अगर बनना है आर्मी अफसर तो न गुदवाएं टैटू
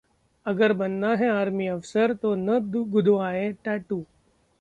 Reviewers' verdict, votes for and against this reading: rejected, 1, 2